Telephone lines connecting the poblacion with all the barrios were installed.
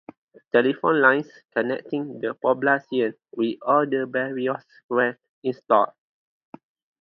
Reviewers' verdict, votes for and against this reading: rejected, 0, 2